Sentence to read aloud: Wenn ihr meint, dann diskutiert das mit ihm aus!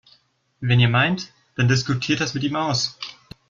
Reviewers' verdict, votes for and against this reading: accepted, 2, 0